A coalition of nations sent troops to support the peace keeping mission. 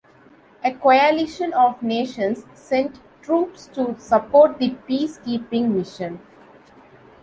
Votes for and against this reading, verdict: 2, 0, accepted